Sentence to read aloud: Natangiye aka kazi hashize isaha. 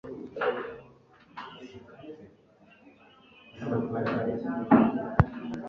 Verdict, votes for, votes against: rejected, 0, 2